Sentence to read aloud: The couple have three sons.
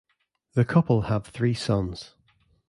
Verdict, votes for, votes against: accepted, 2, 0